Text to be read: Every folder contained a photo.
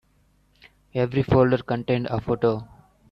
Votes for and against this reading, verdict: 3, 0, accepted